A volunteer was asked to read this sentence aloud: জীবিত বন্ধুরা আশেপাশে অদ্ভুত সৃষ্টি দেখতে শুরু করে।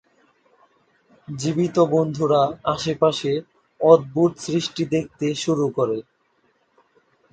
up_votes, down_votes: 16, 3